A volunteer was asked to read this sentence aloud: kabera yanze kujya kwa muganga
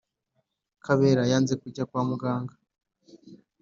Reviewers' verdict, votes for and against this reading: accepted, 2, 0